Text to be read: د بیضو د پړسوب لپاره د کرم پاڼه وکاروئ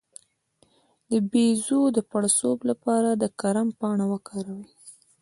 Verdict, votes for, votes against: accepted, 2, 0